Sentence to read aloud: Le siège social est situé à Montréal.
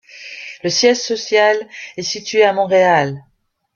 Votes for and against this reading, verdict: 3, 1, accepted